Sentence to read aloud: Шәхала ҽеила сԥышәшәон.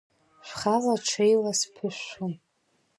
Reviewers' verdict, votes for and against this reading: rejected, 0, 2